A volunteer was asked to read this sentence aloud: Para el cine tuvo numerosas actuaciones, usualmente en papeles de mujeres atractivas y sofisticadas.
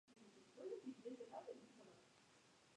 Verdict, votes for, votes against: rejected, 0, 2